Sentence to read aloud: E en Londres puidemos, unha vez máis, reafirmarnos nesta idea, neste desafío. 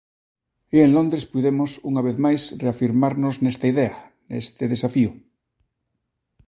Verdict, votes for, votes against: accepted, 2, 0